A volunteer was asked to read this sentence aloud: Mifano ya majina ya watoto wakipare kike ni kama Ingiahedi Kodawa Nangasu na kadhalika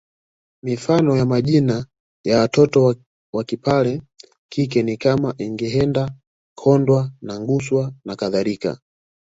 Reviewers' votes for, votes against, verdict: 0, 2, rejected